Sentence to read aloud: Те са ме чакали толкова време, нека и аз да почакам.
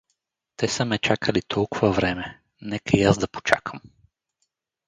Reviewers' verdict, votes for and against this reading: rejected, 2, 2